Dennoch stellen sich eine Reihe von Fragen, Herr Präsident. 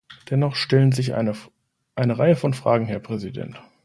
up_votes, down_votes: 0, 2